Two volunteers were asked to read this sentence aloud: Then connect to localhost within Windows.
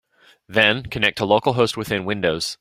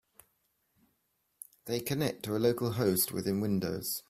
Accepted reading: first